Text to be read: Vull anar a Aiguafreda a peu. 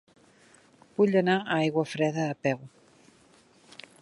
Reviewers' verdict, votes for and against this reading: accepted, 3, 0